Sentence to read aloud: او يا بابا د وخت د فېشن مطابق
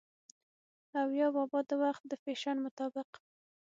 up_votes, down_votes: 6, 0